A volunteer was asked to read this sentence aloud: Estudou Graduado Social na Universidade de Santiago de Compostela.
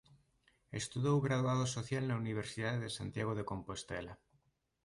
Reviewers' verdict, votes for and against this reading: accepted, 3, 0